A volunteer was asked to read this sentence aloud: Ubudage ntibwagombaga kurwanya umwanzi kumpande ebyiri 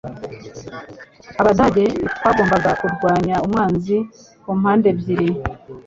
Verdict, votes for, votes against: rejected, 1, 2